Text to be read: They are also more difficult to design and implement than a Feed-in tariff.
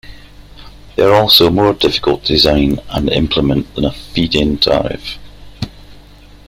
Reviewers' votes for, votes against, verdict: 1, 2, rejected